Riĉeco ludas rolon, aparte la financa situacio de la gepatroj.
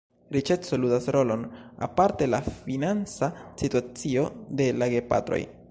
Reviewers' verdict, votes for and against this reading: rejected, 1, 2